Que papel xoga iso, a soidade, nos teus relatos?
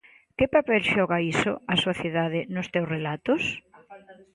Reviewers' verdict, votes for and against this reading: rejected, 0, 2